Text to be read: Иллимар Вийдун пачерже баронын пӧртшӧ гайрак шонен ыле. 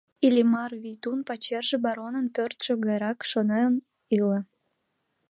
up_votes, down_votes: 0, 2